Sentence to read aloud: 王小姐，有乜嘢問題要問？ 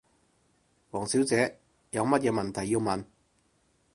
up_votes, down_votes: 4, 0